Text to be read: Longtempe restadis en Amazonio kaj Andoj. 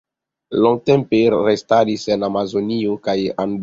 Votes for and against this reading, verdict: 1, 2, rejected